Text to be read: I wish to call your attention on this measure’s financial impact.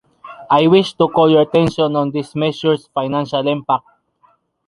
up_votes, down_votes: 2, 0